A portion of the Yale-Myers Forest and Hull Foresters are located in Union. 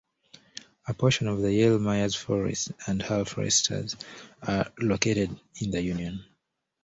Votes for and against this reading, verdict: 1, 2, rejected